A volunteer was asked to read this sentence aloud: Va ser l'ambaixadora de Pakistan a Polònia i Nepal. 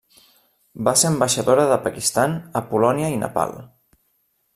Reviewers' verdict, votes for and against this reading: rejected, 0, 2